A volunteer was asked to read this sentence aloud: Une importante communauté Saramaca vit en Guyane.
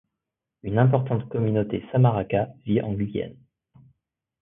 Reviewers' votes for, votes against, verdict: 1, 2, rejected